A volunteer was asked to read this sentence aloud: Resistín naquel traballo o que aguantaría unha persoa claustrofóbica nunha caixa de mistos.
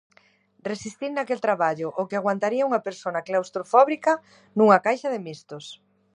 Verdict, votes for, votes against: rejected, 0, 2